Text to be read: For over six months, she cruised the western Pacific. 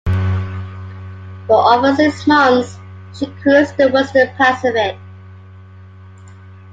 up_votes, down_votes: 0, 2